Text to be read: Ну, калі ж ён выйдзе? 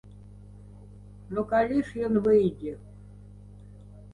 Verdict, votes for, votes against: accepted, 2, 0